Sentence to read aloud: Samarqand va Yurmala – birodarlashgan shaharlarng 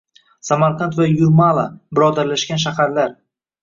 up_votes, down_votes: 1, 2